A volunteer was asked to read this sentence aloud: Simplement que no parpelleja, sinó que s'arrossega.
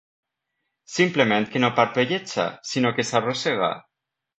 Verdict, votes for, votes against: accepted, 2, 0